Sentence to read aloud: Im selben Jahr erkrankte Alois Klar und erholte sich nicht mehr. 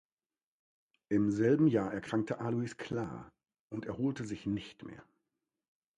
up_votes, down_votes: 2, 0